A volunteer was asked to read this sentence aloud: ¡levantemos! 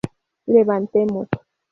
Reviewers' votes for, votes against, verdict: 0, 2, rejected